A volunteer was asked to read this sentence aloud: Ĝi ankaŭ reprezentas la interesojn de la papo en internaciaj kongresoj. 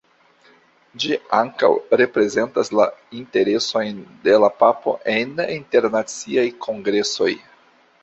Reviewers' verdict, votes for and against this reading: accepted, 2, 0